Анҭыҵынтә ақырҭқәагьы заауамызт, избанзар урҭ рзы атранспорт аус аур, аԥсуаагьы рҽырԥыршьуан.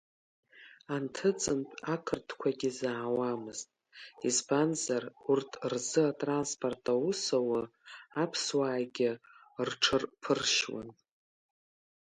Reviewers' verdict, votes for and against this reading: accepted, 3, 2